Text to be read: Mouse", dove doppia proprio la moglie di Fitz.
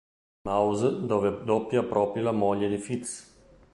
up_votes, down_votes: 0, 2